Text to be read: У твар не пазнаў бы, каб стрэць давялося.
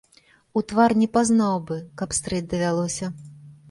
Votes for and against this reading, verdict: 2, 0, accepted